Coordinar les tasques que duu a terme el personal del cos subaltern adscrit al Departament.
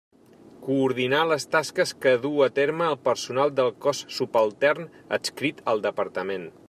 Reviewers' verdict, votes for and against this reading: accepted, 3, 0